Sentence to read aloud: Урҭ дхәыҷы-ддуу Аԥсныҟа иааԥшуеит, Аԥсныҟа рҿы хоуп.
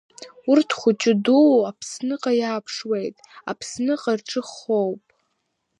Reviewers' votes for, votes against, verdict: 2, 0, accepted